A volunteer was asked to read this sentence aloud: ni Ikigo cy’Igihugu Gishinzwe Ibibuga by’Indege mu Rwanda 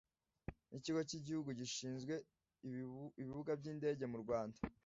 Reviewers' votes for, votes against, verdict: 1, 2, rejected